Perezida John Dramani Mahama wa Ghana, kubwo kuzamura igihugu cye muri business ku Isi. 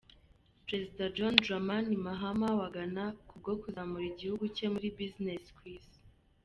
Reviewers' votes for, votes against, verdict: 2, 0, accepted